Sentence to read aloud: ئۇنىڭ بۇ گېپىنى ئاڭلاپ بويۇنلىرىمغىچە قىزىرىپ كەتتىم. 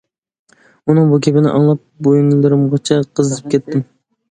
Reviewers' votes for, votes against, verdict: 0, 2, rejected